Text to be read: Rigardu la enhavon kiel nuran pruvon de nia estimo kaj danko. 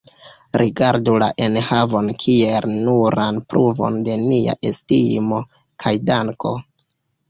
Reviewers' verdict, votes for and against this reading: rejected, 1, 2